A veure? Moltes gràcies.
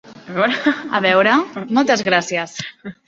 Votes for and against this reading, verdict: 0, 3, rejected